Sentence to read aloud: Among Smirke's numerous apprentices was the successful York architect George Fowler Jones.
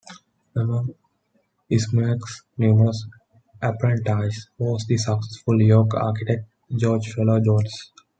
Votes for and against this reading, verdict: 0, 2, rejected